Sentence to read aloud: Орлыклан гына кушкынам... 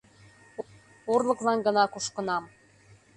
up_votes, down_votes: 2, 0